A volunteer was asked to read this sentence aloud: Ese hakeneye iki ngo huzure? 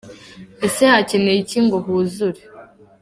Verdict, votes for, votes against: accepted, 2, 0